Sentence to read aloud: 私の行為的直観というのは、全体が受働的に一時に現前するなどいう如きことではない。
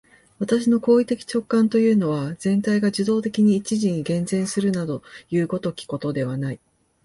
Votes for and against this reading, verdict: 3, 0, accepted